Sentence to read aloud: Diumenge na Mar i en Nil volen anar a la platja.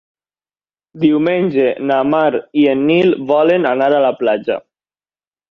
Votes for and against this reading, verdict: 3, 0, accepted